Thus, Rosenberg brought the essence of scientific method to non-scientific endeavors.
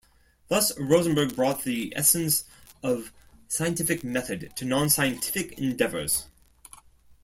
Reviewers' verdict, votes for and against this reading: rejected, 0, 2